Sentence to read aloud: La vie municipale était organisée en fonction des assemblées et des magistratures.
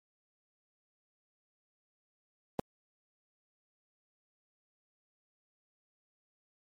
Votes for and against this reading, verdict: 1, 2, rejected